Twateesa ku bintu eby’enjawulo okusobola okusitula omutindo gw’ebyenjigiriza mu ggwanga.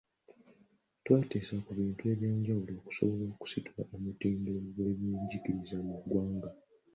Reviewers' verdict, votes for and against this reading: accepted, 2, 0